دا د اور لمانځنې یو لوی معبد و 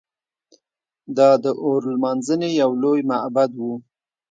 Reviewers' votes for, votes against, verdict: 2, 1, accepted